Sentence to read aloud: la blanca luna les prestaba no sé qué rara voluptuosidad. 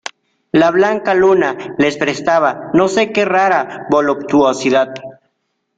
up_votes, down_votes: 2, 0